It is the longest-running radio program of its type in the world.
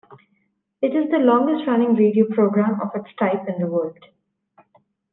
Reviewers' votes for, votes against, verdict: 2, 0, accepted